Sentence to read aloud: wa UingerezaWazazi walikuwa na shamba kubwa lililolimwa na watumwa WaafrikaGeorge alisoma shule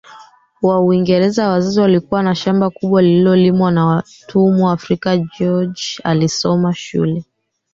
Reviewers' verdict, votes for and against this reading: rejected, 0, 3